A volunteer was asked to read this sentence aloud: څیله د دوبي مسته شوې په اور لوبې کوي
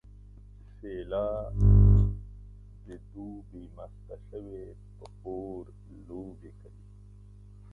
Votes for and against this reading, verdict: 1, 2, rejected